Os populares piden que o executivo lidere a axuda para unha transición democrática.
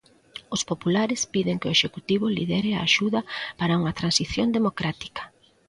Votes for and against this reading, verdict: 2, 0, accepted